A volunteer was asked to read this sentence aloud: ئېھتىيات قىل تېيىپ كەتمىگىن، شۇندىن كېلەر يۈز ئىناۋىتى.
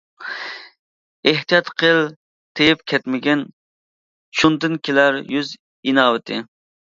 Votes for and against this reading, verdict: 2, 0, accepted